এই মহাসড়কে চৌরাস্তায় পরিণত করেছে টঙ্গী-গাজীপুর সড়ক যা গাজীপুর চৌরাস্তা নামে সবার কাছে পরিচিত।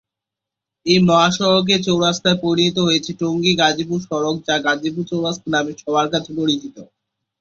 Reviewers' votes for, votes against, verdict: 15, 13, accepted